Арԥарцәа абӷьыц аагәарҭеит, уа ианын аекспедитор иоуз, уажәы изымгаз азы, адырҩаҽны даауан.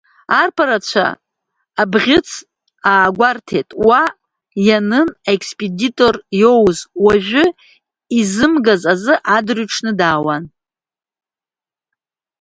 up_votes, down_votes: 2, 1